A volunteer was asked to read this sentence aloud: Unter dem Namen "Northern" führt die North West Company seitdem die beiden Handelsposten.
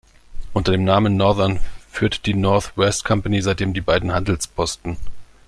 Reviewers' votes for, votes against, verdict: 2, 0, accepted